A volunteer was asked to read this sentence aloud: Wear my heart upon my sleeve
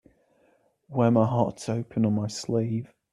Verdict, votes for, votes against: rejected, 0, 2